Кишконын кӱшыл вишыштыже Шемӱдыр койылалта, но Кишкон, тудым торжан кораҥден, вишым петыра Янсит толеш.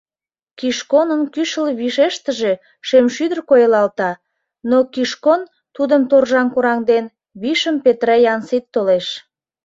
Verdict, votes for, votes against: rejected, 0, 2